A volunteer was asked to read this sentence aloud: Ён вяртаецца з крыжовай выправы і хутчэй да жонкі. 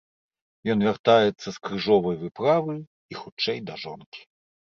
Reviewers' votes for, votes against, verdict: 2, 0, accepted